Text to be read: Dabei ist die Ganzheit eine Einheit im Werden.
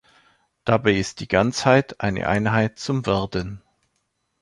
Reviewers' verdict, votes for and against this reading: rejected, 1, 2